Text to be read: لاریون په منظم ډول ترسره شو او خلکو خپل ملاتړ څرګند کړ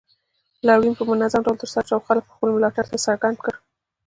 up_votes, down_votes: 2, 1